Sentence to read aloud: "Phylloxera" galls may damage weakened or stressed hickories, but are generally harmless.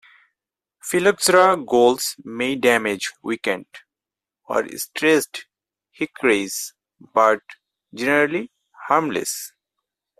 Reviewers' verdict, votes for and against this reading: rejected, 2, 4